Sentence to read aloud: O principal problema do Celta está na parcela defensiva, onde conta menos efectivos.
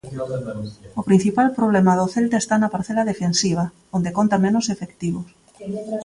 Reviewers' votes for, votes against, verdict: 1, 2, rejected